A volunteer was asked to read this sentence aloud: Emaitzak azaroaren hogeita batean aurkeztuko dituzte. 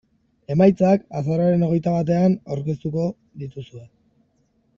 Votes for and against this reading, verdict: 2, 1, accepted